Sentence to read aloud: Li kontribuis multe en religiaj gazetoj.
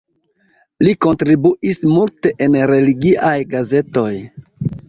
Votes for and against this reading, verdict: 0, 2, rejected